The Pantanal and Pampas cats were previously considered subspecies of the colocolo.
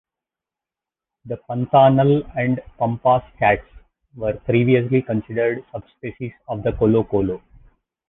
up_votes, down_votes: 2, 0